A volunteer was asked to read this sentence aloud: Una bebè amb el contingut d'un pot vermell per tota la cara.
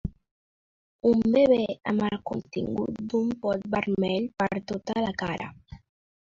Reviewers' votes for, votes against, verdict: 1, 2, rejected